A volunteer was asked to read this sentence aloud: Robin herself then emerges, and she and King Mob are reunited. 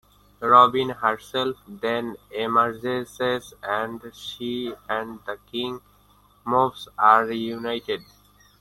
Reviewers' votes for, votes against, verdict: 1, 2, rejected